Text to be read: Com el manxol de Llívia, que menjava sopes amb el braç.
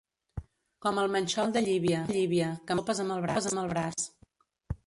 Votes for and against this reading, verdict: 0, 2, rejected